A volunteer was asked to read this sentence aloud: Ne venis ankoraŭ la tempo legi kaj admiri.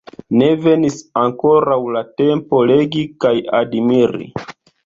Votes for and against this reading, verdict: 2, 0, accepted